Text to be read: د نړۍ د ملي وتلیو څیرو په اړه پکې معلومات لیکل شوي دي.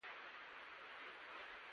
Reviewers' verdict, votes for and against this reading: rejected, 0, 8